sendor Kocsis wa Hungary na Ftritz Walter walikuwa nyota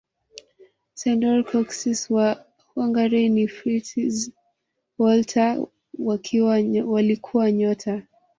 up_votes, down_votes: 0, 2